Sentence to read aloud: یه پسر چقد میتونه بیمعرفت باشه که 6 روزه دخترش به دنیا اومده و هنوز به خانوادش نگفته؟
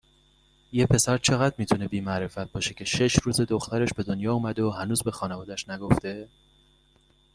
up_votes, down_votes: 0, 2